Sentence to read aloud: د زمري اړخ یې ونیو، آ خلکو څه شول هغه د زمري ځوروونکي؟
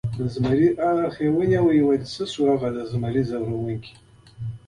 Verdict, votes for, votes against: accepted, 2, 0